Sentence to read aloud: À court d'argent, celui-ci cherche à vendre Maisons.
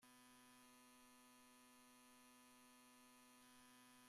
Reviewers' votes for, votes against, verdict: 0, 2, rejected